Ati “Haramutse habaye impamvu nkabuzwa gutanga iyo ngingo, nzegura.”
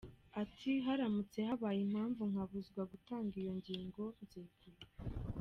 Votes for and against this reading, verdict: 2, 1, accepted